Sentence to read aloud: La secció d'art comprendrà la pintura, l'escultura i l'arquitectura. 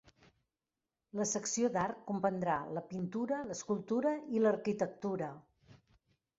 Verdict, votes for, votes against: accepted, 3, 0